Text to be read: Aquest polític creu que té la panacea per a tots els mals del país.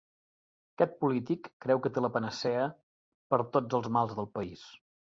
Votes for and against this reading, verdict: 0, 2, rejected